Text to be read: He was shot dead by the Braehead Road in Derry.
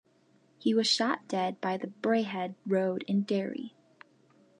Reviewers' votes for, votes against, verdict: 2, 0, accepted